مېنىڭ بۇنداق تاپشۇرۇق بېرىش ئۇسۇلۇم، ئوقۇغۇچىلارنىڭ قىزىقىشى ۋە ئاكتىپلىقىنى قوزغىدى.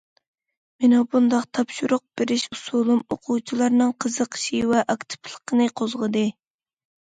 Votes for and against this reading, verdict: 2, 0, accepted